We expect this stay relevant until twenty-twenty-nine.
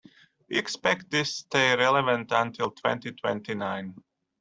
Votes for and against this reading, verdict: 2, 0, accepted